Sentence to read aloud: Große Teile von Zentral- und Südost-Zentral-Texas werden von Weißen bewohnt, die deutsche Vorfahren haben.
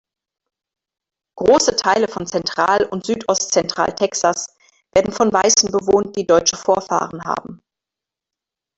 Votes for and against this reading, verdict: 2, 1, accepted